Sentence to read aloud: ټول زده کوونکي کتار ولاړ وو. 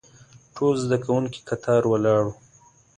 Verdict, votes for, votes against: accepted, 2, 1